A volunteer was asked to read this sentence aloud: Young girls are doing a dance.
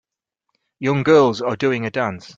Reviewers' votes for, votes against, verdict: 4, 0, accepted